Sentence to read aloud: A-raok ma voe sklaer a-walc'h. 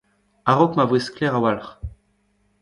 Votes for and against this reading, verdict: 1, 2, rejected